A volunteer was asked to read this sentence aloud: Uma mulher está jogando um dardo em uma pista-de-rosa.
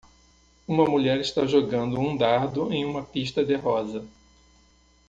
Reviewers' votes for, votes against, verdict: 2, 0, accepted